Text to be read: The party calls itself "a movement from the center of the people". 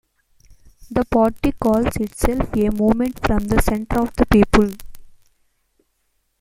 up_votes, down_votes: 0, 2